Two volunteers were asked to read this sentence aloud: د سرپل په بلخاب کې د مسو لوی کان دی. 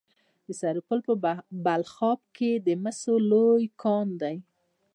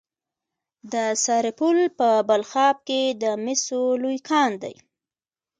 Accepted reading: second